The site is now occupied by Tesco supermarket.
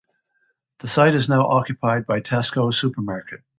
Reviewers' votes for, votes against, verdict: 2, 0, accepted